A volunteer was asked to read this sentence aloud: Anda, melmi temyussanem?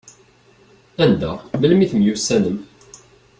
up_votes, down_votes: 2, 0